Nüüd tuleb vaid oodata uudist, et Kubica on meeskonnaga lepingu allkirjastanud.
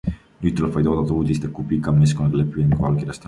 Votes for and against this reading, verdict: 0, 2, rejected